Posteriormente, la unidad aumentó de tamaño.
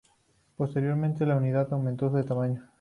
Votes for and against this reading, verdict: 2, 0, accepted